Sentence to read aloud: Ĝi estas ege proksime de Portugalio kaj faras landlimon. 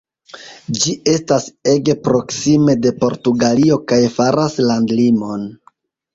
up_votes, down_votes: 2, 0